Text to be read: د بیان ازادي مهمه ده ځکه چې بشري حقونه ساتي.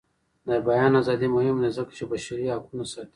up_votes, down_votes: 1, 2